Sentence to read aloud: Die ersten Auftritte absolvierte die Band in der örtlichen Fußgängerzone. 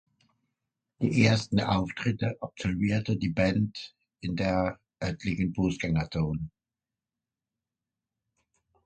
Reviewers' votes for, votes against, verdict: 2, 1, accepted